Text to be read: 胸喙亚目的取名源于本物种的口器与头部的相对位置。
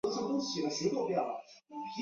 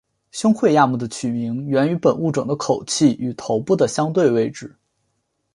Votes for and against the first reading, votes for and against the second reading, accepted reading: 0, 2, 2, 0, second